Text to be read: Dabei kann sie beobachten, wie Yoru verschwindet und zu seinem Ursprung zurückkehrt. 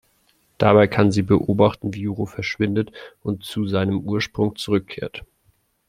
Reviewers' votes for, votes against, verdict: 2, 0, accepted